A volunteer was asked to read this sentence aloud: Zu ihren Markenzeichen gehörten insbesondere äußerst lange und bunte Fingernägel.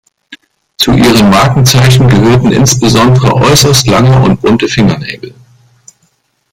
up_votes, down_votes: 1, 2